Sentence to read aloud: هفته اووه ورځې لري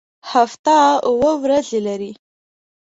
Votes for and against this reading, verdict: 2, 0, accepted